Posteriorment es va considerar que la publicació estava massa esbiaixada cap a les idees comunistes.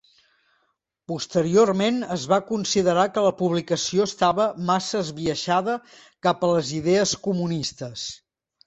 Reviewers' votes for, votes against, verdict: 3, 0, accepted